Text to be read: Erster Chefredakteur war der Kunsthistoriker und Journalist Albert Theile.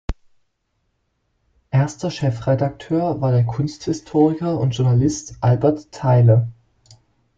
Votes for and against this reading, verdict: 2, 0, accepted